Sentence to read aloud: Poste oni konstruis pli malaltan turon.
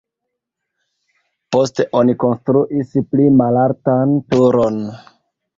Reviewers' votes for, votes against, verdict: 2, 1, accepted